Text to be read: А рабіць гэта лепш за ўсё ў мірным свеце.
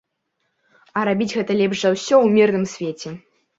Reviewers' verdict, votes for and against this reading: accepted, 2, 0